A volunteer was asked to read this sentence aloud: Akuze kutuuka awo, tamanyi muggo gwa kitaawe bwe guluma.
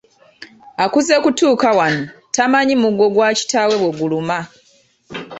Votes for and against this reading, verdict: 1, 2, rejected